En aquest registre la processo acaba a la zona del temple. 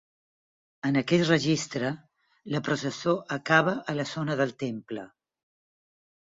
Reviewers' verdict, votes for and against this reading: accepted, 6, 2